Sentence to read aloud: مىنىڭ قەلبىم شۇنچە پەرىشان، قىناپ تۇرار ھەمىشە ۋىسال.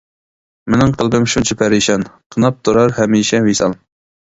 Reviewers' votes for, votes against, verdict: 0, 2, rejected